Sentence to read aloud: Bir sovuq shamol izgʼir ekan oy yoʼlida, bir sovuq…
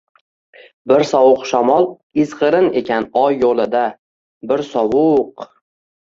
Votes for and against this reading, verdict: 0, 2, rejected